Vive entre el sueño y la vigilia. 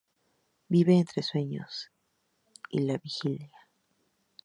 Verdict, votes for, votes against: rejected, 0, 2